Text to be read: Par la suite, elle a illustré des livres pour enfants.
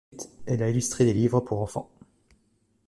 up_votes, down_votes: 0, 2